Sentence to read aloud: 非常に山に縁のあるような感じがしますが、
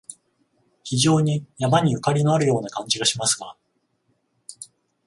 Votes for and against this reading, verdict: 14, 0, accepted